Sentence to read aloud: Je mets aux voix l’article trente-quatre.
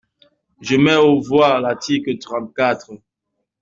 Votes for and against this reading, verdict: 2, 0, accepted